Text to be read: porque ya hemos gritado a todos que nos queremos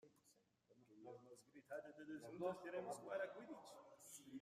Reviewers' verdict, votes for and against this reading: rejected, 0, 2